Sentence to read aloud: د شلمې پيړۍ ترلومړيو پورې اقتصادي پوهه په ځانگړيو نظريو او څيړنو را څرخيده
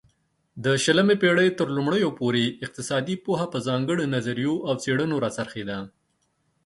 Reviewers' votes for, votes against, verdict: 2, 0, accepted